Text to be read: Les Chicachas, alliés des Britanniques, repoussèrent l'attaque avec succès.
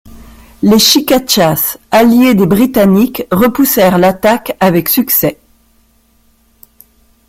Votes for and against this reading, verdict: 2, 0, accepted